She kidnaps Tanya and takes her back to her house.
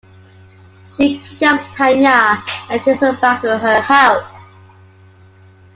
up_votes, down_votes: 2, 0